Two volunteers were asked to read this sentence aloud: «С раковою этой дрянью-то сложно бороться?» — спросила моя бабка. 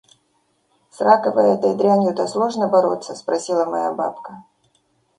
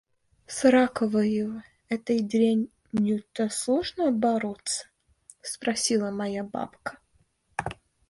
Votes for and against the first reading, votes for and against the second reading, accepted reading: 2, 0, 0, 2, first